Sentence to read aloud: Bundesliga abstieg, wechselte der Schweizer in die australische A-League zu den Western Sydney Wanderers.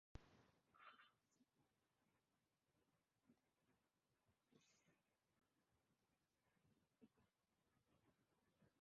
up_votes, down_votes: 0, 2